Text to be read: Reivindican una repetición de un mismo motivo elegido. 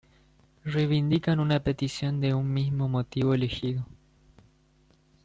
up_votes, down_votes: 1, 2